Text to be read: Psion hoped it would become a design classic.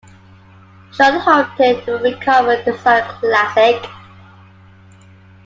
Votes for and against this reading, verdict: 0, 2, rejected